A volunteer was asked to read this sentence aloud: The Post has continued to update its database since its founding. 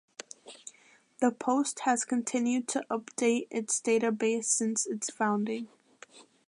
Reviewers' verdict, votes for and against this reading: accepted, 2, 0